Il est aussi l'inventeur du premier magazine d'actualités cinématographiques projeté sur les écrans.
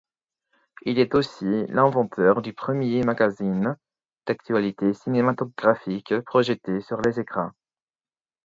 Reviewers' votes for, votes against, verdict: 4, 2, accepted